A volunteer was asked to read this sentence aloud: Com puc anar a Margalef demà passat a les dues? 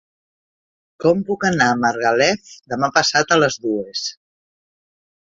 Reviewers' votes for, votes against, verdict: 3, 0, accepted